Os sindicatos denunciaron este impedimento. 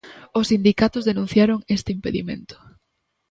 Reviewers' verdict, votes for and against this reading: accepted, 2, 0